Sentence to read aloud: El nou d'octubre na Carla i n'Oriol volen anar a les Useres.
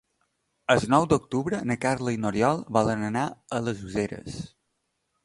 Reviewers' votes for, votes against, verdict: 2, 1, accepted